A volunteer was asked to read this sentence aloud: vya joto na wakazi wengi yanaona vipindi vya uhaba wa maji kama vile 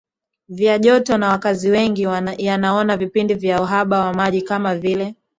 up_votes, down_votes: 3, 0